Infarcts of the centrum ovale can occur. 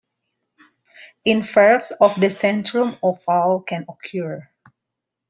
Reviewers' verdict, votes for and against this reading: rejected, 0, 2